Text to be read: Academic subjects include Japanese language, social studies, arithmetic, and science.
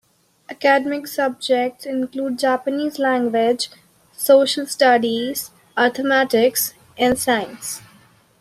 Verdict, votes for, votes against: accepted, 2, 1